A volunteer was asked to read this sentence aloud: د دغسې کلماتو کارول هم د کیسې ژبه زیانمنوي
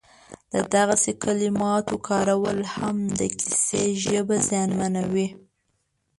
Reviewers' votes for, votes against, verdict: 0, 2, rejected